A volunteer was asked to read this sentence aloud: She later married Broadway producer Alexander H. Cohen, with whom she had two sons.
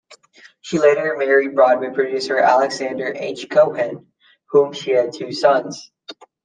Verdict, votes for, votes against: rejected, 0, 2